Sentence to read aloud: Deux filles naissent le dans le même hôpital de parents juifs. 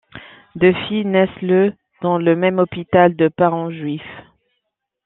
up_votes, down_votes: 2, 0